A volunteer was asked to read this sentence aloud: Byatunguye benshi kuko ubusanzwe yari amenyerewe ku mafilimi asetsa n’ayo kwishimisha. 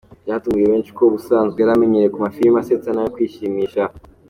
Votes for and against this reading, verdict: 2, 0, accepted